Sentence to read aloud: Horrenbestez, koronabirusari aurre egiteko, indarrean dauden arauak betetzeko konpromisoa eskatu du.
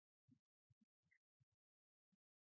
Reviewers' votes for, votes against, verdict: 2, 4, rejected